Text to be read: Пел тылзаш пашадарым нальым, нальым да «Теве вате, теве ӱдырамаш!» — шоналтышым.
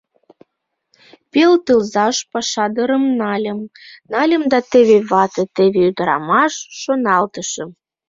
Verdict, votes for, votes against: rejected, 1, 2